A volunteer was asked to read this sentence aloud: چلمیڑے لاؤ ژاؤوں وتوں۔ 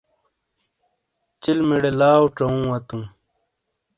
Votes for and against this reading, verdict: 2, 0, accepted